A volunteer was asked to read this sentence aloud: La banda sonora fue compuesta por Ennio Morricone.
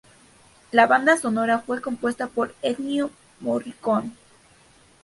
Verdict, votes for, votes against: accepted, 2, 0